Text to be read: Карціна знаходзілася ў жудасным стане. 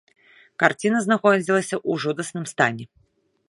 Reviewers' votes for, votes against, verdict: 2, 0, accepted